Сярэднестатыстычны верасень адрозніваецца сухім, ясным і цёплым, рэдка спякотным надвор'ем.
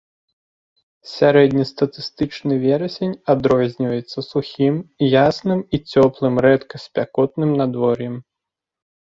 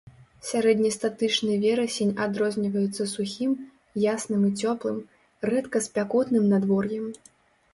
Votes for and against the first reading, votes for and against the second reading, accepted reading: 2, 0, 0, 2, first